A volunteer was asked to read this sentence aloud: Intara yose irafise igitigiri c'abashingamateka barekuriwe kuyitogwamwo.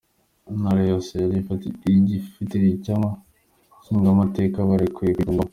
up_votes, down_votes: 0, 2